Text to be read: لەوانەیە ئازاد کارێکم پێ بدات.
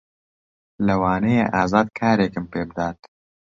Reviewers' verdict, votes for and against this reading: accepted, 2, 0